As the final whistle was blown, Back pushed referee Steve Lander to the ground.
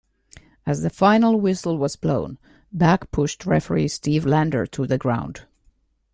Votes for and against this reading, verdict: 2, 0, accepted